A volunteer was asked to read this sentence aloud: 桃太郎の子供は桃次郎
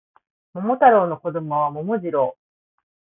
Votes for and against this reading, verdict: 3, 0, accepted